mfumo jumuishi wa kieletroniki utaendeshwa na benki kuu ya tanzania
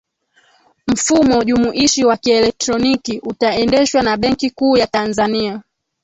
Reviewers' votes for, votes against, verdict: 2, 1, accepted